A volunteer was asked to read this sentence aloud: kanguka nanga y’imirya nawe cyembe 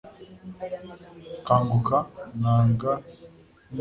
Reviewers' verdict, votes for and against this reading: rejected, 1, 2